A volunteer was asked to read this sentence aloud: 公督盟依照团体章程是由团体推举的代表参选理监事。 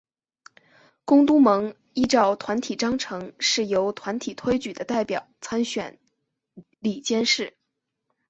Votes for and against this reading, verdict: 4, 2, accepted